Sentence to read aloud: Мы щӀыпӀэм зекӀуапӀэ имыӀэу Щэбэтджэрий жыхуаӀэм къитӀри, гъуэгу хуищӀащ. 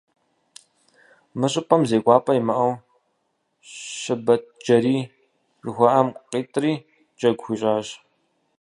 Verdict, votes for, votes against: rejected, 0, 4